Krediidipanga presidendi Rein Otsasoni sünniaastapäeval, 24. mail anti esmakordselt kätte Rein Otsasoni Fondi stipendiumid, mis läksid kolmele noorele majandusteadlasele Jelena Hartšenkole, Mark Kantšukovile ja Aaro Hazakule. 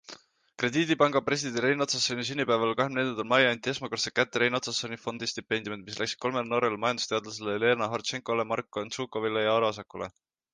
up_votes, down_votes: 0, 2